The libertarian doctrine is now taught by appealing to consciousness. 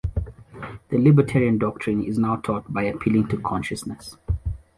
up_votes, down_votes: 2, 0